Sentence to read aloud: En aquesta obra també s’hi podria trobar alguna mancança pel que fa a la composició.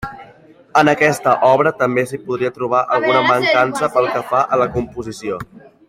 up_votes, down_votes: 1, 2